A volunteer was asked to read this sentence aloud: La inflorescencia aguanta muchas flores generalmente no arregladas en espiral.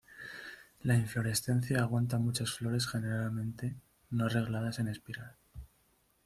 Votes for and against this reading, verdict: 2, 1, accepted